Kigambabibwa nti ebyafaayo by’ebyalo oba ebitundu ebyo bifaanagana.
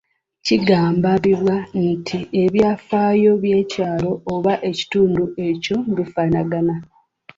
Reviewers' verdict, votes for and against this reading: rejected, 1, 2